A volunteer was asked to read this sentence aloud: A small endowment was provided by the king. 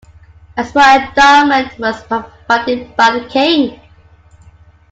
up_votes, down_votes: 0, 2